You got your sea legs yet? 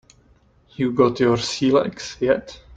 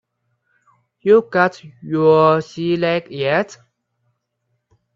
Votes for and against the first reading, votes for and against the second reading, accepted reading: 3, 0, 0, 2, first